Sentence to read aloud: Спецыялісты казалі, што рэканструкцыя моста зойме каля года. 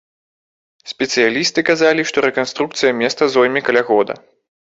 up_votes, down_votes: 1, 2